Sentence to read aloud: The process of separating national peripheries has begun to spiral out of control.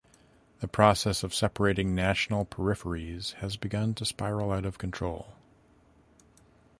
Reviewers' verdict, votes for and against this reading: accepted, 2, 0